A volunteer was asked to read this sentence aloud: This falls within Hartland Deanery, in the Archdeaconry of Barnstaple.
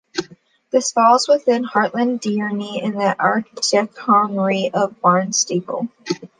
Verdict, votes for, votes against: accepted, 2, 0